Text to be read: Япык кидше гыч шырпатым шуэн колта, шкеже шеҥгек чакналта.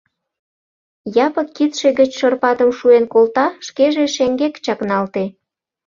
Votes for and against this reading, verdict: 0, 2, rejected